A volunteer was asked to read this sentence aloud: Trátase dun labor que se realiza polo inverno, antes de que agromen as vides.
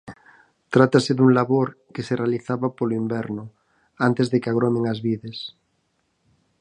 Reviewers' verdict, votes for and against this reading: rejected, 2, 4